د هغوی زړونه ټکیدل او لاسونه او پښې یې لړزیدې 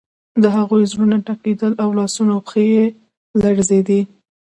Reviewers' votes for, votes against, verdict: 0, 2, rejected